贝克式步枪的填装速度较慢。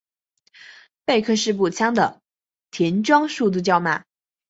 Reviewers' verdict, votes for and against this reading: accepted, 3, 0